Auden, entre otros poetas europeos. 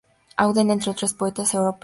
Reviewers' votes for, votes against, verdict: 0, 4, rejected